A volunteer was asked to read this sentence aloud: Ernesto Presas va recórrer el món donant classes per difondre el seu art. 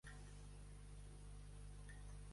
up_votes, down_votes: 0, 2